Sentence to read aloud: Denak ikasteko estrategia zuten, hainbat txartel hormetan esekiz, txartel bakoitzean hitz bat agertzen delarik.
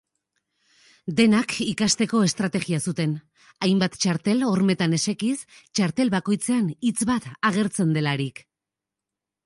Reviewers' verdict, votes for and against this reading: accepted, 2, 1